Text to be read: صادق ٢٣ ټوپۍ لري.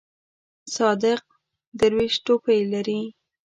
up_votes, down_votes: 0, 2